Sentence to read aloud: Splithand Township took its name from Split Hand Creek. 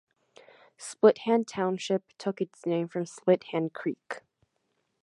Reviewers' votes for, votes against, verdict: 2, 0, accepted